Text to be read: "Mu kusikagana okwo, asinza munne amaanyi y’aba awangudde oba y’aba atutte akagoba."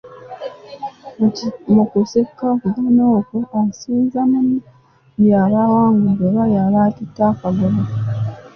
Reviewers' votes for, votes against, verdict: 1, 2, rejected